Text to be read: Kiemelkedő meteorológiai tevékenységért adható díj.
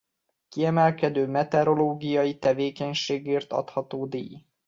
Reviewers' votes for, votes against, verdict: 2, 0, accepted